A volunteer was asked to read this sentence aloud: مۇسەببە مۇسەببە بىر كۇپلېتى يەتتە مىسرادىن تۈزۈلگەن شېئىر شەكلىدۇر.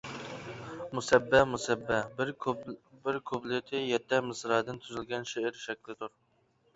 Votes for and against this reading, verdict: 1, 2, rejected